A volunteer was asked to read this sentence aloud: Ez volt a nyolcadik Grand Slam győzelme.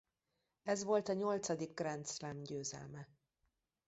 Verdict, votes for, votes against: accepted, 2, 1